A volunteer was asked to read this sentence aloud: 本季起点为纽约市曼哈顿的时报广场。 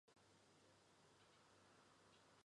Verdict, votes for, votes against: accepted, 2, 0